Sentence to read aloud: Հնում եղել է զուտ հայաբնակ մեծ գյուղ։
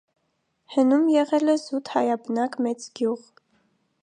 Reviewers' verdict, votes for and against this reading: accepted, 2, 0